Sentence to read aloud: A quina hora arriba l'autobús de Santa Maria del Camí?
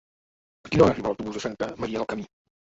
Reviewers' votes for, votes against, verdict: 1, 4, rejected